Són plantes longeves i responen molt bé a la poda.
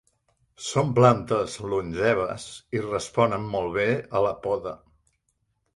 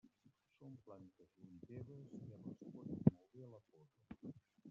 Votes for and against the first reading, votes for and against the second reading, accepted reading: 3, 0, 1, 2, first